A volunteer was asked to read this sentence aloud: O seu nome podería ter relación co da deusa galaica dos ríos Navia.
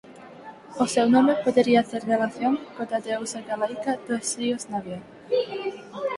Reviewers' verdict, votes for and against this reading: rejected, 2, 4